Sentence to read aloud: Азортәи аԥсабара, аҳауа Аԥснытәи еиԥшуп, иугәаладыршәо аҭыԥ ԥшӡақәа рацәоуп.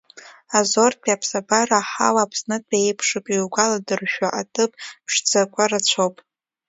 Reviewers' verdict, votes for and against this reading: accepted, 3, 0